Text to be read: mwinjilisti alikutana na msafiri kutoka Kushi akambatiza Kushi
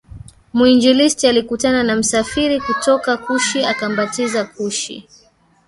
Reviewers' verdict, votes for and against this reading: accepted, 2, 1